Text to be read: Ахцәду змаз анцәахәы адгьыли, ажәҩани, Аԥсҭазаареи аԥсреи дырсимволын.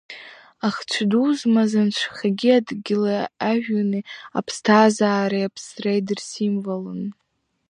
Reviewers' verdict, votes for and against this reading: rejected, 1, 2